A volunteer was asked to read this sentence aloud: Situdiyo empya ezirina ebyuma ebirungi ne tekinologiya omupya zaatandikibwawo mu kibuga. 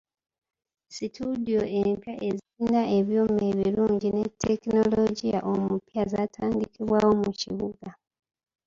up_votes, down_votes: 1, 2